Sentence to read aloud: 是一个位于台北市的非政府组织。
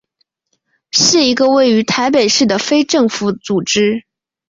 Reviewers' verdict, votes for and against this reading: accepted, 5, 1